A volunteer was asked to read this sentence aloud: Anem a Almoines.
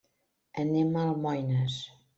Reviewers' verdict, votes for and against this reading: accepted, 3, 0